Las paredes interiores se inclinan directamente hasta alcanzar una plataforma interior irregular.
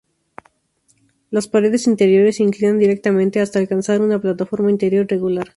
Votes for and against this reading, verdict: 2, 0, accepted